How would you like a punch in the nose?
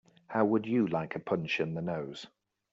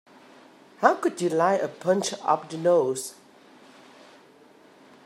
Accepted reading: first